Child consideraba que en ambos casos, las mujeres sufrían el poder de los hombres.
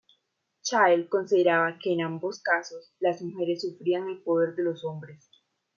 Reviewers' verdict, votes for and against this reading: accepted, 2, 0